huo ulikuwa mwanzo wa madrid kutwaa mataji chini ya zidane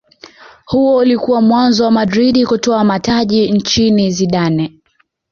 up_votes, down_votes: 0, 2